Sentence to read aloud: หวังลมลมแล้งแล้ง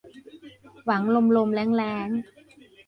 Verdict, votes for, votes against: accepted, 2, 0